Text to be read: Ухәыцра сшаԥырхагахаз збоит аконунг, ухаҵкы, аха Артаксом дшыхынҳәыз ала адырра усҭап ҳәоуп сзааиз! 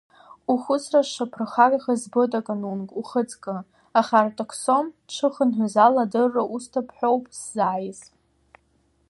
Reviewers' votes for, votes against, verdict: 2, 1, accepted